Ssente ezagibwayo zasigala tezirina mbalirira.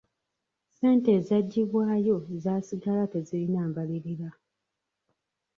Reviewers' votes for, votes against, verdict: 2, 0, accepted